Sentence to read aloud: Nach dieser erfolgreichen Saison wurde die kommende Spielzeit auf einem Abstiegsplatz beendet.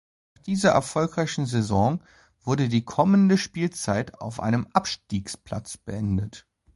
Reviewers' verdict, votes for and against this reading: rejected, 0, 2